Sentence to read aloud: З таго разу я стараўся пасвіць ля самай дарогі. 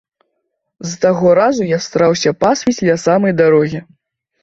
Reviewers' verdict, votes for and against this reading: accepted, 2, 0